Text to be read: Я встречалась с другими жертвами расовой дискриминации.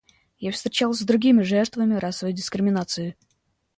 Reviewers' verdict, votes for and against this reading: accepted, 2, 0